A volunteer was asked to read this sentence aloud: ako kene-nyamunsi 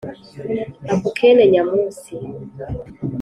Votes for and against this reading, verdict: 2, 0, accepted